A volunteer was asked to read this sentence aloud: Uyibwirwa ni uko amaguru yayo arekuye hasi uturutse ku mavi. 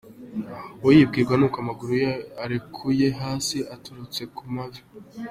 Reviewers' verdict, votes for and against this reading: rejected, 1, 2